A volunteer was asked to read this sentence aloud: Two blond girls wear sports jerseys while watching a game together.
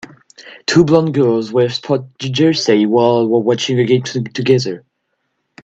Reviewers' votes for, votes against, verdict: 1, 2, rejected